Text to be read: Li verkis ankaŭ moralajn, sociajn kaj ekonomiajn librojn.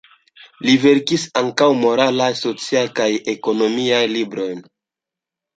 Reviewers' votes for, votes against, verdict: 1, 2, rejected